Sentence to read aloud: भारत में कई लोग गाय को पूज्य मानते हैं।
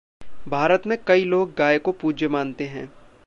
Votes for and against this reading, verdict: 1, 2, rejected